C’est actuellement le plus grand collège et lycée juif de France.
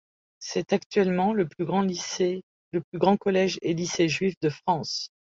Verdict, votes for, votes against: rejected, 1, 2